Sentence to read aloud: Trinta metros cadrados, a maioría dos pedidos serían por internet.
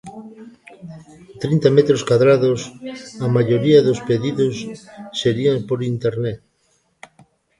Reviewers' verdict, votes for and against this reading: accepted, 2, 0